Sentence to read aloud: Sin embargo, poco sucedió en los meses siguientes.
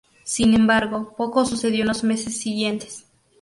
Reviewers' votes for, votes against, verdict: 2, 0, accepted